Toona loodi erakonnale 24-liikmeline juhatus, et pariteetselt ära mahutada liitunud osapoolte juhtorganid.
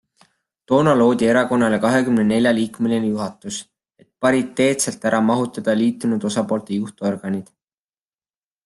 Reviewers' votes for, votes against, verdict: 0, 2, rejected